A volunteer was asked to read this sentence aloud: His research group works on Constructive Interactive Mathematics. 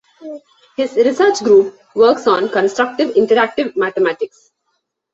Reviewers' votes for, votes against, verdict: 2, 1, accepted